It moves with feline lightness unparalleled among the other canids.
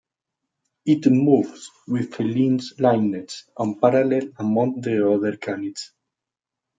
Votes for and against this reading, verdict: 0, 2, rejected